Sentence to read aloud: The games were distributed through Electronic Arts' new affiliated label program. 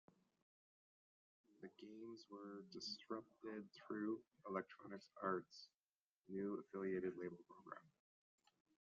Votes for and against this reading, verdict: 1, 2, rejected